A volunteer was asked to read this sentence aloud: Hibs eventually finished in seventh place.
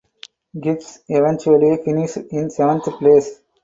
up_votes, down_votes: 4, 2